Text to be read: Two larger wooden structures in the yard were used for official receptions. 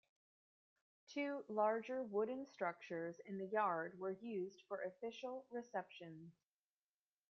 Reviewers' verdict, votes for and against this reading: accepted, 2, 1